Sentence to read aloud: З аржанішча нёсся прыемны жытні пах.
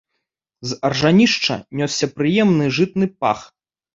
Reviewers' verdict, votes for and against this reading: rejected, 0, 2